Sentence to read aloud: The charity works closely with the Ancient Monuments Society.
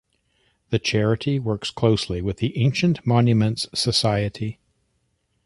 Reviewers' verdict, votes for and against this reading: accepted, 2, 0